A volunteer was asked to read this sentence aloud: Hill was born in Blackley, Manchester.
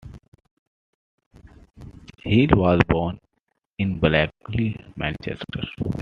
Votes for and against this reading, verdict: 1, 2, rejected